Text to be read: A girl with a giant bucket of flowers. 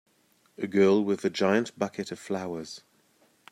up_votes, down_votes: 2, 0